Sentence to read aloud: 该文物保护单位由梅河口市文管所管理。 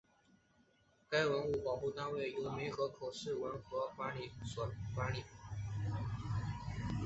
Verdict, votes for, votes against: rejected, 0, 2